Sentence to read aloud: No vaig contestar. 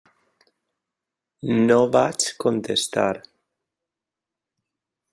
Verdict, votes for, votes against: accepted, 3, 0